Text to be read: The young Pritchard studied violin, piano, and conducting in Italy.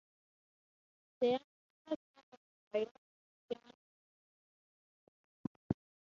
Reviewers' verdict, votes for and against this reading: rejected, 0, 6